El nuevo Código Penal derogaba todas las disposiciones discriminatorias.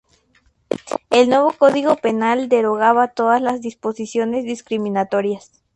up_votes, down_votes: 2, 0